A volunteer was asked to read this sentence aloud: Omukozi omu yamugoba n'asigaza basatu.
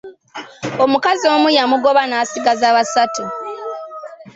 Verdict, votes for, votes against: rejected, 0, 3